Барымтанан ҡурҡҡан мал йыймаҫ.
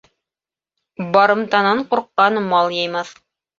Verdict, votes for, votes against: accepted, 2, 0